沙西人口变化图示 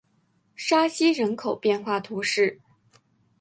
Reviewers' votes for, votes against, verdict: 3, 0, accepted